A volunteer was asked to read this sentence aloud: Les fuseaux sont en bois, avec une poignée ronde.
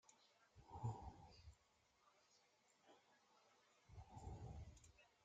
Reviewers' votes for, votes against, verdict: 0, 2, rejected